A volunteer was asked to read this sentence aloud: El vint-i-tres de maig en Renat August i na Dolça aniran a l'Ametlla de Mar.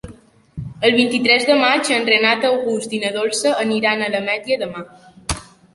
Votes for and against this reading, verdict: 2, 0, accepted